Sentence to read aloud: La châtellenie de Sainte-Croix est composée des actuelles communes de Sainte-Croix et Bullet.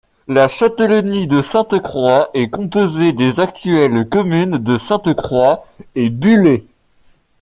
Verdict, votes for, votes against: accepted, 2, 0